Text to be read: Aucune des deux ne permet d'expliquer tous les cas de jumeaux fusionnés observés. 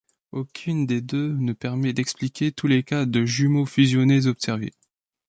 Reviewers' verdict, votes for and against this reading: accepted, 2, 1